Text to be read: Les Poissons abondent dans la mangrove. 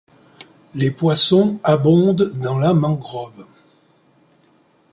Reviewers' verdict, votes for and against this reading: accepted, 2, 0